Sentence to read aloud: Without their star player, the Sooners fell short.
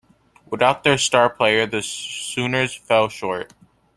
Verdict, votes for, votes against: accepted, 2, 0